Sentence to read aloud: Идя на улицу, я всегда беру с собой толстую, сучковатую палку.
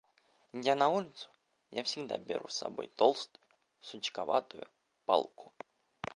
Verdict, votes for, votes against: rejected, 2, 3